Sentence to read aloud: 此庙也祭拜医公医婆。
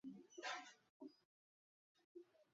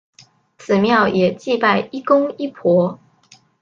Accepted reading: second